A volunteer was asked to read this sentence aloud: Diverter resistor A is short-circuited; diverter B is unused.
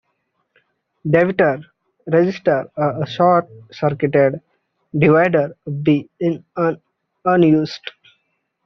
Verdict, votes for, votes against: rejected, 0, 2